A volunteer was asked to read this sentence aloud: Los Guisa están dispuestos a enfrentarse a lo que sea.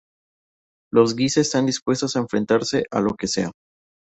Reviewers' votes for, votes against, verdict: 2, 0, accepted